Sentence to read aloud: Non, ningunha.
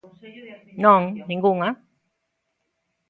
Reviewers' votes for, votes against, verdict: 1, 2, rejected